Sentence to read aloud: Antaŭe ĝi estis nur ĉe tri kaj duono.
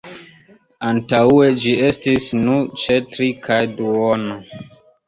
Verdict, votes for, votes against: accepted, 2, 1